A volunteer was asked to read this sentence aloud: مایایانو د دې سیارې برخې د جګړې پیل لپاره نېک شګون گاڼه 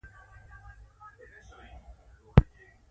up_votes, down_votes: 1, 2